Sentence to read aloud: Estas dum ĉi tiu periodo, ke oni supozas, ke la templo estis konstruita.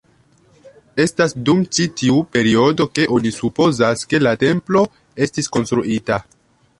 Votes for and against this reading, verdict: 0, 2, rejected